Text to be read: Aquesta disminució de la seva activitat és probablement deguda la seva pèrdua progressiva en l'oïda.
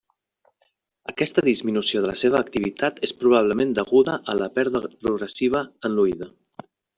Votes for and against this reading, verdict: 1, 2, rejected